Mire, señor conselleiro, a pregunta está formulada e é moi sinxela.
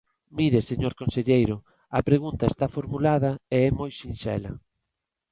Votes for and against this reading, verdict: 2, 0, accepted